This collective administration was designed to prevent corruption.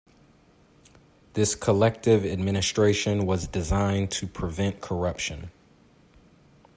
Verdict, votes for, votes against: accepted, 2, 0